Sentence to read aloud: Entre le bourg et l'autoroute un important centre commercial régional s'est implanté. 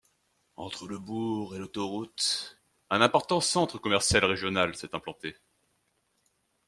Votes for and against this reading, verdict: 2, 1, accepted